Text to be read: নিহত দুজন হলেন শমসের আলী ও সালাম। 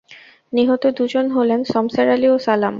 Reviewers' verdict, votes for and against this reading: accepted, 2, 0